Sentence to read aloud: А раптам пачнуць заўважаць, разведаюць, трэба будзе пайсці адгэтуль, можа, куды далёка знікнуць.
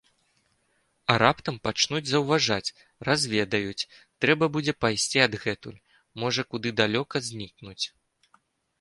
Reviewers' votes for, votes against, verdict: 2, 0, accepted